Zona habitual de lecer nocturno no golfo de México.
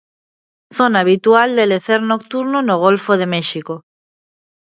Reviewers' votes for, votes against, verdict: 2, 0, accepted